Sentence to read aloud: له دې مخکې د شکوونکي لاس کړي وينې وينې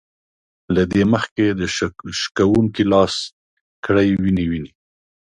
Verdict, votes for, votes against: rejected, 1, 2